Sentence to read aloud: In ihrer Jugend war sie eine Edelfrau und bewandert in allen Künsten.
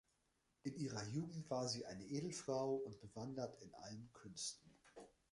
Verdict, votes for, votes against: rejected, 1, 2